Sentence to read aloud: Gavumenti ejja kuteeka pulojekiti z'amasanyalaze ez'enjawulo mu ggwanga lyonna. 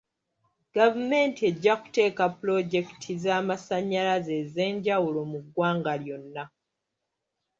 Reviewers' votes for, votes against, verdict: 2, 1, accepted